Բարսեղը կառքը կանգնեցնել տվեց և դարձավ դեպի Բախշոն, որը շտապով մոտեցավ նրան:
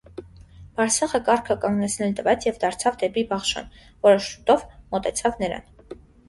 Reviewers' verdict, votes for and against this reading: rejected, 1, 2